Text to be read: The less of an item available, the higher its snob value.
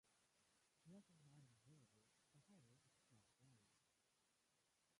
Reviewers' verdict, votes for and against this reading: rejected, 0, 2